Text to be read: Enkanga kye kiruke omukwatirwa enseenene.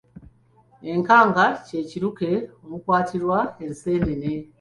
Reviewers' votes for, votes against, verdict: 2, 0, accepted